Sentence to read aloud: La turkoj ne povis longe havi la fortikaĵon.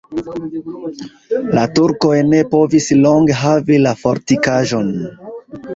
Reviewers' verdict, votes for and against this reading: rejected, 1, 2